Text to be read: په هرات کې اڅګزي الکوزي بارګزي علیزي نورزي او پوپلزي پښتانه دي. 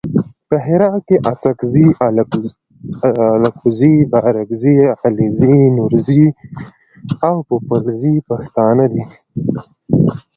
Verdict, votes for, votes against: accepted, 2, 0